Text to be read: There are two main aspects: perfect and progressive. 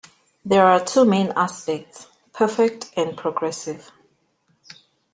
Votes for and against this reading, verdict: 2, 0, accepted